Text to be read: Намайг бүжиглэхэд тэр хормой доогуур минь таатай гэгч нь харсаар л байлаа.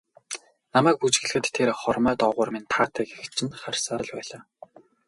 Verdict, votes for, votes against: rejected, 2, 2